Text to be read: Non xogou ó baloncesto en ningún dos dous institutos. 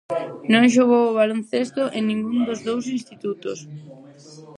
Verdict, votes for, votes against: rejected, 0, 4